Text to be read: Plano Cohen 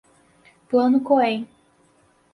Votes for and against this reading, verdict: 4, 2, accepted